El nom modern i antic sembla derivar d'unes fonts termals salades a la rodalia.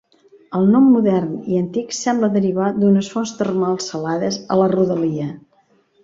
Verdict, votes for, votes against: accepted, 2, 0